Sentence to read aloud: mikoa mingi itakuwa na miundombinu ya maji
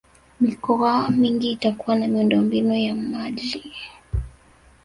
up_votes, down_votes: 2, 0